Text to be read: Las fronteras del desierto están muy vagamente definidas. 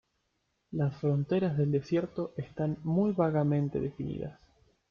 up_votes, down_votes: 2, 0